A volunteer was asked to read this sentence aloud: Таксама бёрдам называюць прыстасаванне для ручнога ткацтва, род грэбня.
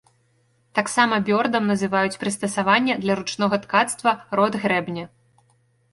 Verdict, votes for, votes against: accepted, 2, 0